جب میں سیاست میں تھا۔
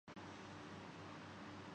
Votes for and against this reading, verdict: 0, 2, rejected